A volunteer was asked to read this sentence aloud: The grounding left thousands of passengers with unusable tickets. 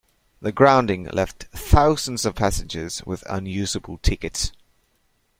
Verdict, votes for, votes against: accepted, 2, 0